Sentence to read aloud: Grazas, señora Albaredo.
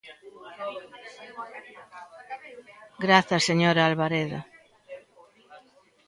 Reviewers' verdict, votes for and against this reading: rejected, 0, 2